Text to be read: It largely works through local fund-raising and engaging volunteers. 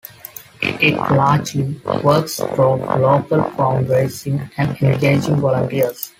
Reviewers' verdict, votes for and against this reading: rejected, 0, 2